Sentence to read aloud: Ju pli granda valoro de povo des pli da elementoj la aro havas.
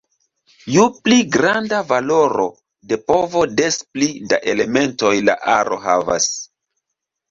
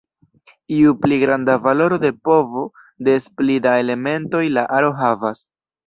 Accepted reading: second